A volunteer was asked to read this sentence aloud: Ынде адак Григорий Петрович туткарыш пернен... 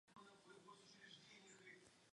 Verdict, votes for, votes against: rejected, 1, 2